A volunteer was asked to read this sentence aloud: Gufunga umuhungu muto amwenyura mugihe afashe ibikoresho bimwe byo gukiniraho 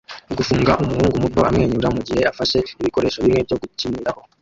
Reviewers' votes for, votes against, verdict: 0, 2, rejected